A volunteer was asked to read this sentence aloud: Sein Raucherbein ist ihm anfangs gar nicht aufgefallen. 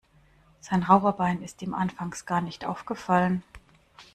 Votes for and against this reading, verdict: 2, 1, accepted